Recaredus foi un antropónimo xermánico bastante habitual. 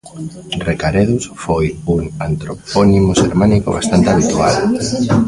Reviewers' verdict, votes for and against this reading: rejected, 0, 2